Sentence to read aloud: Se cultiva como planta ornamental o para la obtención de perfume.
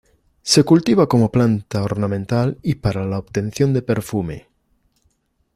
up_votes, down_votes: 0, 2